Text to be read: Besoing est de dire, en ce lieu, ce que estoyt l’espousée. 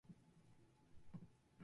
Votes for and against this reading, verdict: 0, 2, rejected